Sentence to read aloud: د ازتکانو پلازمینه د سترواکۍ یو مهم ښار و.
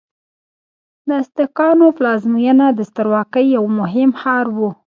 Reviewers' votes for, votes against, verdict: 1, 2, rejected